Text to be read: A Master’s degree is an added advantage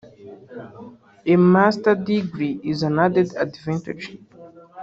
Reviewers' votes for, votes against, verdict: 0, 2, rejected